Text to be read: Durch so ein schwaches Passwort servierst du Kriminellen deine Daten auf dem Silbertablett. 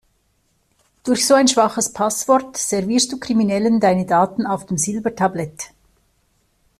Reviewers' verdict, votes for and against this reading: accepted, 2, 0